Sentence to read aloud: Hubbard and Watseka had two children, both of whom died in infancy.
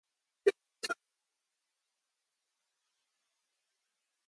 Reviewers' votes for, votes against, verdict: 0, 2, rejected